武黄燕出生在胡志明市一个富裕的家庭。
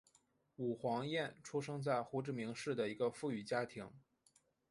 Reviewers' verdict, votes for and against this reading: accepted, 2, 0